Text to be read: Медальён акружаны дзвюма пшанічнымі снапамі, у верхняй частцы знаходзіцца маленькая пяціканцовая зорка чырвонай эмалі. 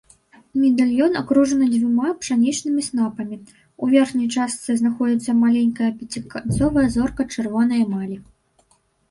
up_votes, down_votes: 0, 2